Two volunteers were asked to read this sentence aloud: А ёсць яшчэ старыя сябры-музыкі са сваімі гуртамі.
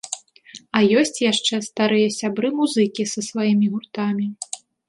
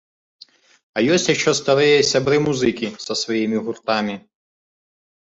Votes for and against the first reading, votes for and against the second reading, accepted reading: 2, 0, 1, 2, first